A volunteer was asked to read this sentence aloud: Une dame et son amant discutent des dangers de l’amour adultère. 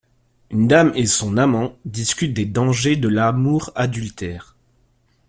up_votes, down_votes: 2, 0